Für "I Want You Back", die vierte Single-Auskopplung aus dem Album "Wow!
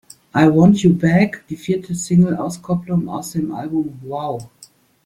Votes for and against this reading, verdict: 0, 2, rejected